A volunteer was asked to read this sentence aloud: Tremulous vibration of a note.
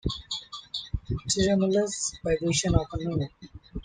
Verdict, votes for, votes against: rejected, 1, 2